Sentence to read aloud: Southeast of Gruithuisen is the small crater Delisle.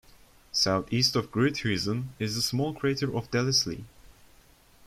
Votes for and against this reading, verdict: 0, 2, rejected